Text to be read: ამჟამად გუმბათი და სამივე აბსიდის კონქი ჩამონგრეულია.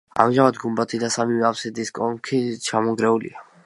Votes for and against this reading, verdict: 0, 2, rejected